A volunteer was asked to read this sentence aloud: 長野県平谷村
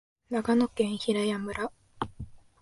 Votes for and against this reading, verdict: 2, 0, accepted